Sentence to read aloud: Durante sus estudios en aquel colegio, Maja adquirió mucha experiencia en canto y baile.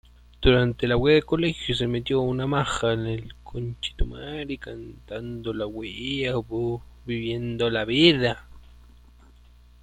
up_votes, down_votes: 0, 2